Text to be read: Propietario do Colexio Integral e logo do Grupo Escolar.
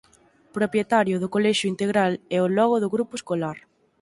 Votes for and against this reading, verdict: 0, 4, rejected